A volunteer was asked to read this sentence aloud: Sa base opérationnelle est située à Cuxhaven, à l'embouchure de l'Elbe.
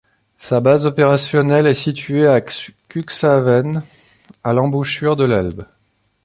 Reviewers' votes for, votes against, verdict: 1, 2, rejected